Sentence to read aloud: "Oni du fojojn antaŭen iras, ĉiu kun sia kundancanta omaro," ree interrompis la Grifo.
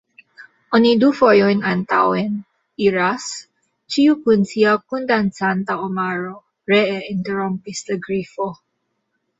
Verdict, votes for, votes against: accepted, 2, 1